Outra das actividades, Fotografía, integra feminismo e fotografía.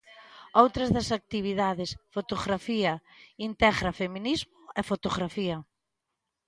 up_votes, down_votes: 0, 2